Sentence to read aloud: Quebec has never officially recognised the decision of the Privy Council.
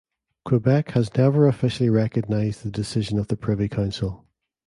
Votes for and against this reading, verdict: 3, 0, accepted